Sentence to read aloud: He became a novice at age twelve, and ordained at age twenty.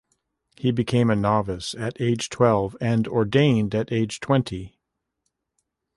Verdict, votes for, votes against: accepted, 2, 0